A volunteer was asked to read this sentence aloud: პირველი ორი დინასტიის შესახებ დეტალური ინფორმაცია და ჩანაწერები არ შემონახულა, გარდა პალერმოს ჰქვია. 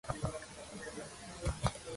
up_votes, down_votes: 1, 2